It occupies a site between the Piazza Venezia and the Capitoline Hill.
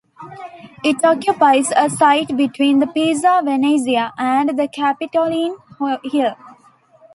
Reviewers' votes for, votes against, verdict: 0, 2, rejected